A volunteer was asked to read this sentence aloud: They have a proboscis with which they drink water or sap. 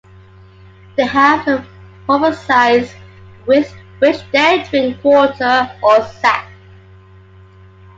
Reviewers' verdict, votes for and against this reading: rejected, 0, 2